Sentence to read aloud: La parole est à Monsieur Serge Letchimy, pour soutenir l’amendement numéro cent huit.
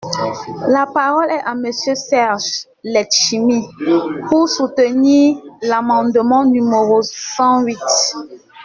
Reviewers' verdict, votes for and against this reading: accepted, 2, 0